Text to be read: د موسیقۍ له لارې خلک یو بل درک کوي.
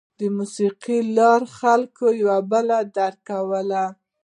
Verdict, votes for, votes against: rejected, 0, 2